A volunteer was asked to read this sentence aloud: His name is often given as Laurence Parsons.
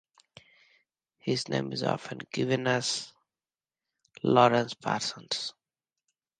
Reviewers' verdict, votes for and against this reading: accepted, 2, 1